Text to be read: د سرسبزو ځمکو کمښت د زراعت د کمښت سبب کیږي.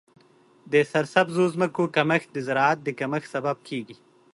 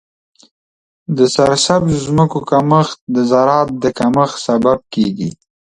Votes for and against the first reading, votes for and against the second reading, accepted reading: 3, 0, 1, 2, first